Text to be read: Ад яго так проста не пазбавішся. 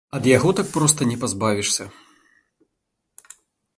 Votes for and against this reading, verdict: 1, 3, rejected